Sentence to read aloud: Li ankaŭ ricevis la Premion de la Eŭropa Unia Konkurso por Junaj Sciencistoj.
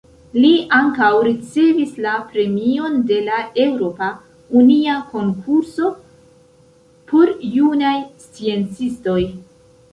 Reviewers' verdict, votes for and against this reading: accepted, 2, 1